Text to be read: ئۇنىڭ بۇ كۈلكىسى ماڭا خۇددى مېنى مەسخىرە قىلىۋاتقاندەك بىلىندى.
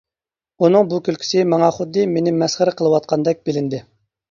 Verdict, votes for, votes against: accepted, 2, 0